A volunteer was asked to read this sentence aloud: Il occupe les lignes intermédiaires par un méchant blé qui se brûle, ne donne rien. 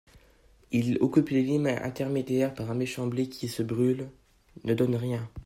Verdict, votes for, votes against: rejected, 1, 2